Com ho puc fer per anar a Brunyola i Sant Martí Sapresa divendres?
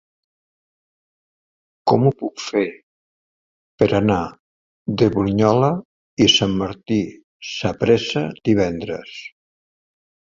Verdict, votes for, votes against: rejected, 2, 3